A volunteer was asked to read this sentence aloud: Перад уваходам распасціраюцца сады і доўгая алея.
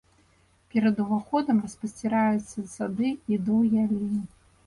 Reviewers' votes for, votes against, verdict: 1, 2, rejected